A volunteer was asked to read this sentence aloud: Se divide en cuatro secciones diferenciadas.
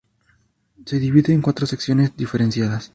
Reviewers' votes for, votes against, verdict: 2, 0, accepted